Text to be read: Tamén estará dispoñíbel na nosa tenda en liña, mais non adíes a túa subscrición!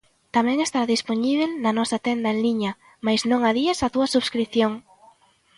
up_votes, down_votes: 2, 1